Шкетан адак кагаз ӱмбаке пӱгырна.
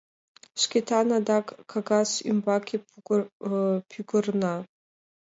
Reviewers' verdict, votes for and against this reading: rejected, 0, 5